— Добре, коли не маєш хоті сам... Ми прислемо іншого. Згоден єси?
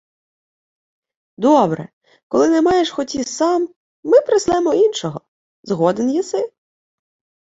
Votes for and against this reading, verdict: 2, 0, accepted